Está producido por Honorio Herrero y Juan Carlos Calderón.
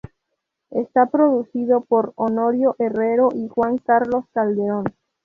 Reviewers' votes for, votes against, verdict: 2, 0, accepted